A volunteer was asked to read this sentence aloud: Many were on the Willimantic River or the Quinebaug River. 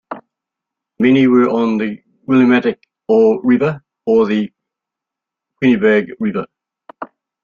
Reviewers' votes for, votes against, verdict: 2, 0, accepted